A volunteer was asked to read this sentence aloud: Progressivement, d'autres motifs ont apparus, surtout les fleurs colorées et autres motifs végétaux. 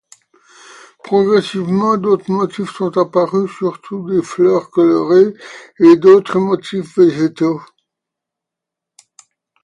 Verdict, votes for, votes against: rejected, 1, 2